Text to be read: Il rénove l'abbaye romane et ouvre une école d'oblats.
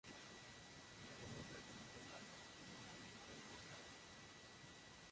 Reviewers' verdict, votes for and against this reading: rejected, 0, 2